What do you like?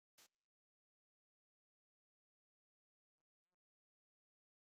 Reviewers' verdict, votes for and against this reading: rejected, 0, 2